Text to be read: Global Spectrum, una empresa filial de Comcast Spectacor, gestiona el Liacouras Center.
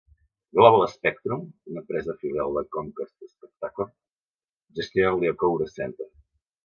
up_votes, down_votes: 2, 1